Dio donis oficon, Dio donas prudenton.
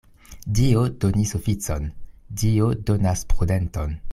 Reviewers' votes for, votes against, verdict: 2, 0, accepted